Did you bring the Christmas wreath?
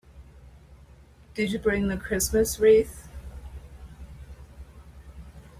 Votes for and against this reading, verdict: 2, 0, accepted